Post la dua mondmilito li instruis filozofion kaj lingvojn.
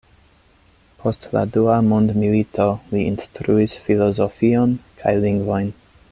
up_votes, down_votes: 2, 0